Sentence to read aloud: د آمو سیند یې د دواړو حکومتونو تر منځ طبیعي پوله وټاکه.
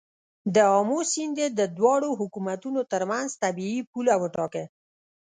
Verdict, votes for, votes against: rejected, 1, 2